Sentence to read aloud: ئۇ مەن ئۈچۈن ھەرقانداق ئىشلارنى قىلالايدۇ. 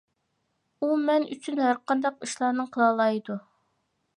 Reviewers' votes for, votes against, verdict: 2, 0, accepted